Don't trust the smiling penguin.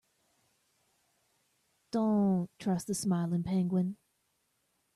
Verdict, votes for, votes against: accepted, 2, 0